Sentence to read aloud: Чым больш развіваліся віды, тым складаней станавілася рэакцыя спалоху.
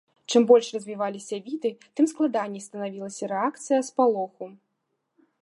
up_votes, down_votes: 2, 0